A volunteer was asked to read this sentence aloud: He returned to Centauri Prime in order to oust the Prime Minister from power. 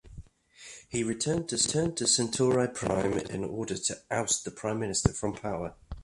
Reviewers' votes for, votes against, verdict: 1, 2, rejected